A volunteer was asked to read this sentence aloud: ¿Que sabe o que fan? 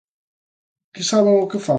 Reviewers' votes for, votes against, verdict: 0, 2, rejected